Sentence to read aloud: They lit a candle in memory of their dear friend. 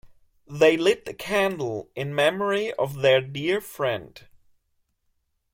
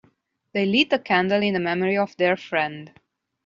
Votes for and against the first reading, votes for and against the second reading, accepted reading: 2, 1, 0, 2, first